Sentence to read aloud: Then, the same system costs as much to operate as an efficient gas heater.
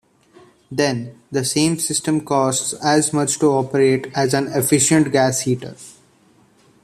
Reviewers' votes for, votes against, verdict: 2, 1, accepted